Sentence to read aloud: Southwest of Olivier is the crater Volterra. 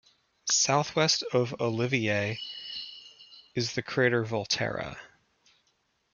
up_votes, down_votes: 2, 1